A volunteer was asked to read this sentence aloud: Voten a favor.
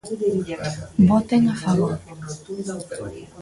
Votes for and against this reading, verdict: 0, 2, rejected